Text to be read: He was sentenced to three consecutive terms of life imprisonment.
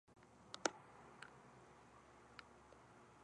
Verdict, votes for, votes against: rejected, 0, 2